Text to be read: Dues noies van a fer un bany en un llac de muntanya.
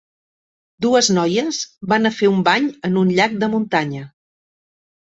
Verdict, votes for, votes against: accepted, 2, 0